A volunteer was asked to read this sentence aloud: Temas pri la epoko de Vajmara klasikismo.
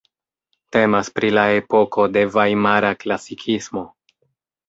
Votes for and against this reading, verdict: 2, 0, accepted